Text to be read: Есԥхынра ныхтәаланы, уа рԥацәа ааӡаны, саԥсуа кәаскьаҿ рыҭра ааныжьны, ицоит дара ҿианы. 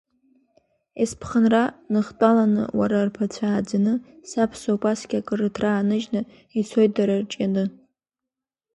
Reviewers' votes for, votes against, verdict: 2, 3, rejected